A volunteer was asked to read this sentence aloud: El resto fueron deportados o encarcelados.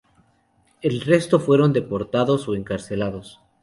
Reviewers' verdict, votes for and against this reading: accepted, 2, 0